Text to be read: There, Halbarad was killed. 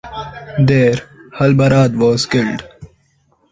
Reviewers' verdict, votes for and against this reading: accepted, 2, 1